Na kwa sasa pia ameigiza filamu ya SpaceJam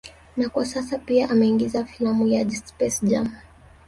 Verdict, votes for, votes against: rejected, 0, 2